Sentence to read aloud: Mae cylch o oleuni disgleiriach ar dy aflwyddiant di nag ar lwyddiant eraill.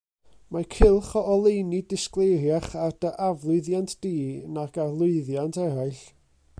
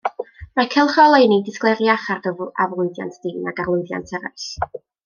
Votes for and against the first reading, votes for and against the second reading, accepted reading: 2, 0, 1, 2, first